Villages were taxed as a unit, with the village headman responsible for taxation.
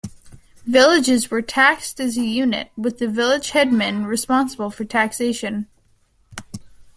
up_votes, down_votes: 2, 0